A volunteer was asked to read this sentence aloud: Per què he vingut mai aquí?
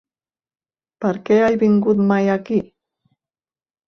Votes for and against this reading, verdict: 2, 1, accepted